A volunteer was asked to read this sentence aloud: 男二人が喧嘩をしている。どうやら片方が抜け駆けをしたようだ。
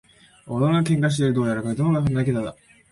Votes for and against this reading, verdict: 0, 3, rejected